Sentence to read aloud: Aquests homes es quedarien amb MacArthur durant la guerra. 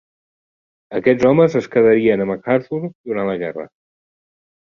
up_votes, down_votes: 2, 0